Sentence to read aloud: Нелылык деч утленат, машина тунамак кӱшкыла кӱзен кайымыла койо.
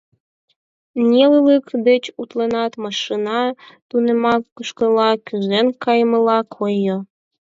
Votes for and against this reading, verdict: 2, 4, rejected